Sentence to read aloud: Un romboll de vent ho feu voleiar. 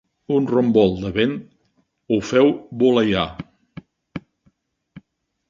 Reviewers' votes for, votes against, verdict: 5, 4, accepted